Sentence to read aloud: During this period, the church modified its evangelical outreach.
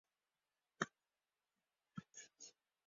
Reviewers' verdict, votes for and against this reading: rejected, 0, 2